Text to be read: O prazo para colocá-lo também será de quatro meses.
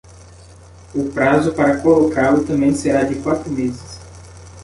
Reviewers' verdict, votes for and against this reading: accepted, 2, 0